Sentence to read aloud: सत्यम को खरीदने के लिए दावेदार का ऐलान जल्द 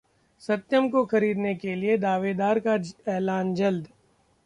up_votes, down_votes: 1, 2